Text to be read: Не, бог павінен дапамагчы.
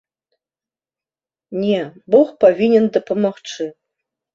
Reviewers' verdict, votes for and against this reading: accepted, 3, 0